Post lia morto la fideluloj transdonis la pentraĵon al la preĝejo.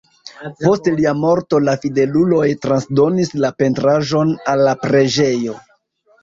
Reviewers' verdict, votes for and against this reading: rejected, 1, 2